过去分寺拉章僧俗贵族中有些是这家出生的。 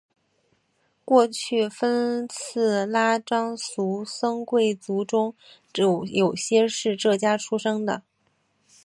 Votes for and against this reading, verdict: 4, 3, accepted